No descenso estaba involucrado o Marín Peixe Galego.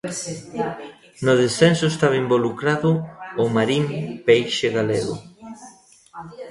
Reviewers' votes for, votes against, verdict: 1, 2, rejected